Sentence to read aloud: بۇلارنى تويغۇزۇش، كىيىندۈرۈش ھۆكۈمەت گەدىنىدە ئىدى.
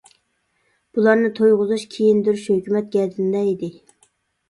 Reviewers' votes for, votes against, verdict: 2, 0, accepted